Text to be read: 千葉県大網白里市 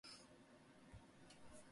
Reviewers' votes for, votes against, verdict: 0, 2, rejected